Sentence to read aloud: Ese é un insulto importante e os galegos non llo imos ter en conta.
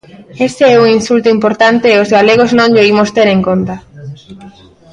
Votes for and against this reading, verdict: 1, 2, rejected